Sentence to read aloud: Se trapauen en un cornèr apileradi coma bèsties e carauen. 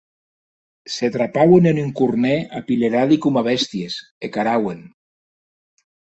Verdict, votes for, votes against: accepted, 2, 0